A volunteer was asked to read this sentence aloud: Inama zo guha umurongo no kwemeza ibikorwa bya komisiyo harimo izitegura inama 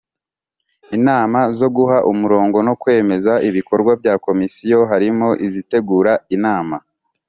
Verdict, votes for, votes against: accepted, 2, 0